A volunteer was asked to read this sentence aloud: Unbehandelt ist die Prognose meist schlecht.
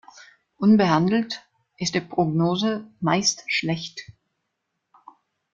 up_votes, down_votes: 2, 0